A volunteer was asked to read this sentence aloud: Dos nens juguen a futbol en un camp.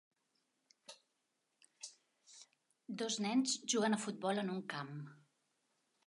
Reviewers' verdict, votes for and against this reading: accepted, 3, 0